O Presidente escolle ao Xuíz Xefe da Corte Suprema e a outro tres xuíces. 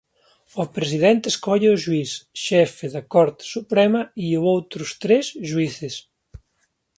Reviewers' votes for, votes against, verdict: 1, 2, rejected